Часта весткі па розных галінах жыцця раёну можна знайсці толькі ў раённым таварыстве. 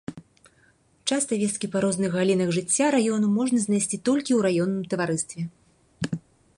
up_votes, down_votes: 2, 0